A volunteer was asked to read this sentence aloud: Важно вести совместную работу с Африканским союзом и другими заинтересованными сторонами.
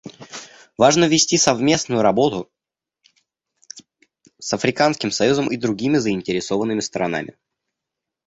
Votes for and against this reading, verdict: 1, 2, rejected